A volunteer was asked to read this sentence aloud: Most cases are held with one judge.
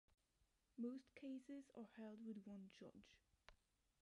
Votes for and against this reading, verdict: 1, 2, rejected